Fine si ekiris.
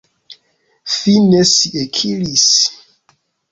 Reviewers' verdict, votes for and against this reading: accepted, 2, 0